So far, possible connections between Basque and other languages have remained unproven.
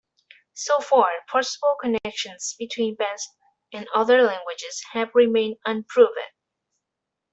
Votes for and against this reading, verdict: 2, 0, accepted